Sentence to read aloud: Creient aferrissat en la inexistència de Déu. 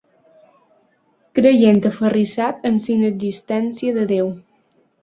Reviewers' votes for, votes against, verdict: 2, 0, accepted